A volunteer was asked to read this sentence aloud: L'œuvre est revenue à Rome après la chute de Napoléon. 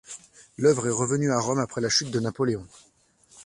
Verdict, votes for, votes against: accepted, 2, 0